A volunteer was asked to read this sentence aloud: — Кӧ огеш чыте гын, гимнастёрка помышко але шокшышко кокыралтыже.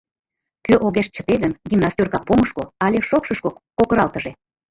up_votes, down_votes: 2, 0